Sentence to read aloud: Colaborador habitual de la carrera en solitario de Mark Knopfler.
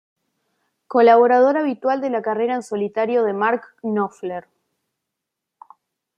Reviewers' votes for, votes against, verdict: 2, 0, accepted